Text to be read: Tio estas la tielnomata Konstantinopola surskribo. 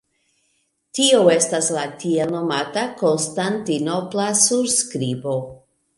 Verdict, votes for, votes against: rejected, 0, 3